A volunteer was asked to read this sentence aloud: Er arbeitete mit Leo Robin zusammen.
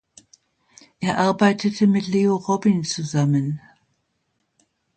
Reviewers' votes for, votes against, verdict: 2, 0, accepted